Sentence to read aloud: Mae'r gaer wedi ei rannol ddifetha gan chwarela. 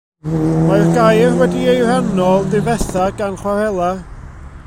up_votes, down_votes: 0, 2